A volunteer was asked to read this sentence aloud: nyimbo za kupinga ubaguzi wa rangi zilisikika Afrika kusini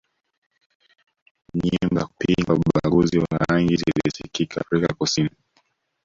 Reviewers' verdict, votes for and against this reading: rejected, 0, 2